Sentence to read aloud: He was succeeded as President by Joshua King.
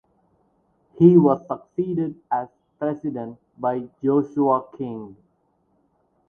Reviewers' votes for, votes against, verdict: 4, 0, accepted